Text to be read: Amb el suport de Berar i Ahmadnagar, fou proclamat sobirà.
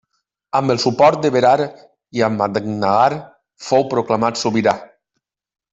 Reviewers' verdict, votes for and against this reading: rejected, 0, 2